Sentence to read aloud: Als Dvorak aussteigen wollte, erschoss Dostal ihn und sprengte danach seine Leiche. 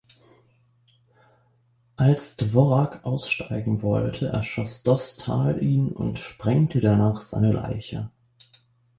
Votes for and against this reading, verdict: 2, 0, accepted